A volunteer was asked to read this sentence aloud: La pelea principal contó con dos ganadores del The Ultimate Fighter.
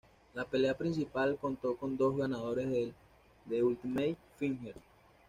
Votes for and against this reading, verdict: 2, 0, accepted